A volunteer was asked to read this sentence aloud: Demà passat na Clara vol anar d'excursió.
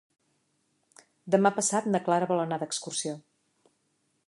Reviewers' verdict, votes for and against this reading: accepted, 3, 1